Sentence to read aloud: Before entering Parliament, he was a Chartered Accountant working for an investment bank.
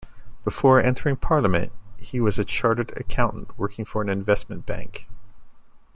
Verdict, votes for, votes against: accepted, 2, 0